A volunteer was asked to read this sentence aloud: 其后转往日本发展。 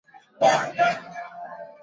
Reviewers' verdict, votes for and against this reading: rejected, 1, 4